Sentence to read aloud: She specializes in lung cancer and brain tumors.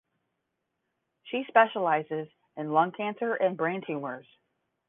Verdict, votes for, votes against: accepted, 10, 0